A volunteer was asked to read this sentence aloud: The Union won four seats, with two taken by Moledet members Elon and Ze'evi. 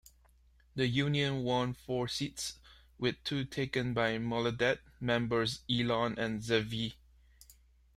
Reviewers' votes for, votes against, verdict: 0, 2, rejected